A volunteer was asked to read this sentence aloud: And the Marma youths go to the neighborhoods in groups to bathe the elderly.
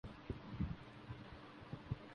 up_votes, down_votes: 0, 2